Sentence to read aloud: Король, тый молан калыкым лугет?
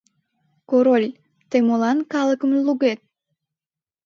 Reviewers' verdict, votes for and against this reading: accepted, 2, 0